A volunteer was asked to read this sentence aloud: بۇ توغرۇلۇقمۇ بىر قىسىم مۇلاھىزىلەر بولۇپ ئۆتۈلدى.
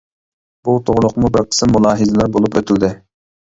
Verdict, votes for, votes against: accepted, 2, 0